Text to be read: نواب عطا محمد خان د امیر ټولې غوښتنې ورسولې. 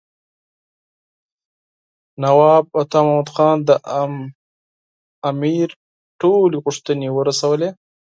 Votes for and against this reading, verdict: 4, 0, accepted